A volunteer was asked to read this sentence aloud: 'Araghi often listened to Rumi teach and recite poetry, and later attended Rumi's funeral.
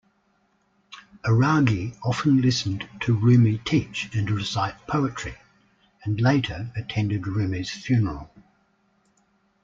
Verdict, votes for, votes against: accepted, 2, 0